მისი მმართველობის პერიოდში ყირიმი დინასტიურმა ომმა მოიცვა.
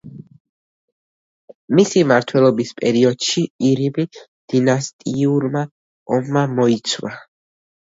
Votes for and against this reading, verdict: 2, 1, accepted